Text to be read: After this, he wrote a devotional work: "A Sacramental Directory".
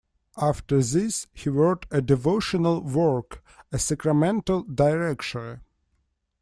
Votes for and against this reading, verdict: 0, 2, rejected